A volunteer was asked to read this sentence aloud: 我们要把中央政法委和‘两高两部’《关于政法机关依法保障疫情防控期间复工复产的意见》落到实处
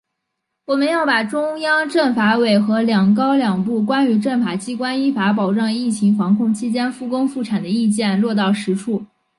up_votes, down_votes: 3, 0